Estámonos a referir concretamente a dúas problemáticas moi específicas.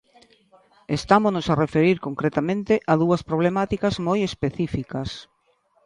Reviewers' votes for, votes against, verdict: 1, 2, rejected